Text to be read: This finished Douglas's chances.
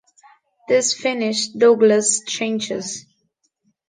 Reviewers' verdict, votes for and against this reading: rejected, 1, 2